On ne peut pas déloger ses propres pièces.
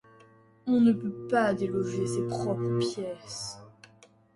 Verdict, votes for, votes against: accepted, 2, 0